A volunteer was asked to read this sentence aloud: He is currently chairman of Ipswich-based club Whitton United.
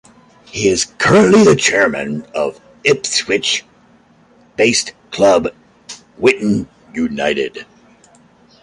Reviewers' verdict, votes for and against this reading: accepted, 2, 0